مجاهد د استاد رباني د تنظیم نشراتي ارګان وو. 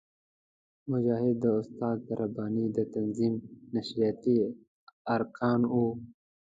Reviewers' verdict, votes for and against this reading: rejected, 1, 2